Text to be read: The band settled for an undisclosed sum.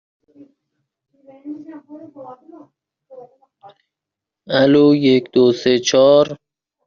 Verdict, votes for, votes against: rejected, 0, 2